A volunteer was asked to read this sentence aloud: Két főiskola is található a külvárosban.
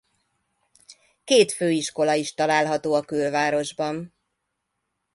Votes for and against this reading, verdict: 2, 0, accepted